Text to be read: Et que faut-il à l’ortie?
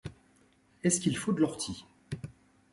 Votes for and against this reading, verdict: 0, 3, rejected